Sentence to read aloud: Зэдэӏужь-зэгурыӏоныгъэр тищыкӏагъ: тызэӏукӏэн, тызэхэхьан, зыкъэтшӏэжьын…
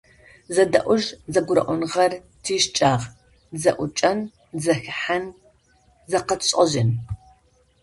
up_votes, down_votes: 0, 2